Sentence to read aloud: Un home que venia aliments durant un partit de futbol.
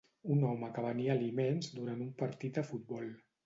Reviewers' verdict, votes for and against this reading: rejected, 2, 2